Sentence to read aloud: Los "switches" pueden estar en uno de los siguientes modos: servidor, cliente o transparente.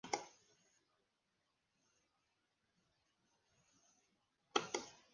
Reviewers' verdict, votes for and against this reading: rejected, 0, 2